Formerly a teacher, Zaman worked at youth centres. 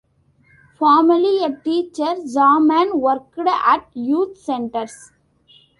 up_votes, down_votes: 2, 0